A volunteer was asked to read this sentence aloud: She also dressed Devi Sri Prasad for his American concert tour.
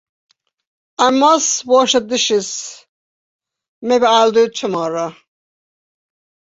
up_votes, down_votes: 0, 2